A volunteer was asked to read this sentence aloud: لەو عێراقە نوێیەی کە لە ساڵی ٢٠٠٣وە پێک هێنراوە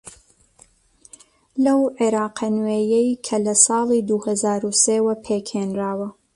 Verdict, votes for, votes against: rejected, 0, 2